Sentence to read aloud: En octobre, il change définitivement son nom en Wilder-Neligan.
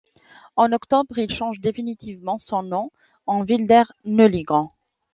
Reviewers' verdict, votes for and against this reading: accepted, 2, 0